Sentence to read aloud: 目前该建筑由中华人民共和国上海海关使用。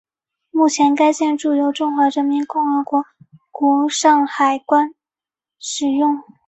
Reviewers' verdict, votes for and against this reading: rejected, 1, 3